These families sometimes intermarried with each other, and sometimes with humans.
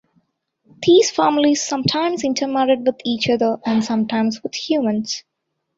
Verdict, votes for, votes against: accepted, 2, 1